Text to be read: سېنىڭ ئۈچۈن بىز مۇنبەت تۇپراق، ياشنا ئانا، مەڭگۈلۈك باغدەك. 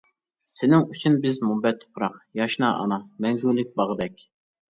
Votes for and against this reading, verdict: 2, 0, accepted